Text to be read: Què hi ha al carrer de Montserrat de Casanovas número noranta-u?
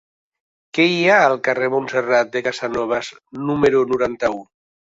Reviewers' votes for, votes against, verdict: 2, 0, accepted